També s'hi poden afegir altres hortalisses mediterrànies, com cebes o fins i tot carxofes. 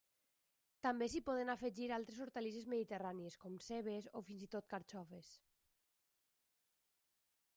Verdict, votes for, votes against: rejected, 0, 2